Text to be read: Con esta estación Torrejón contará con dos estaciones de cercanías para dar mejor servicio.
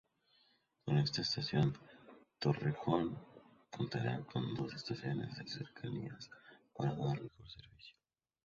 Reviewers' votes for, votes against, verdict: 0, 2, rejected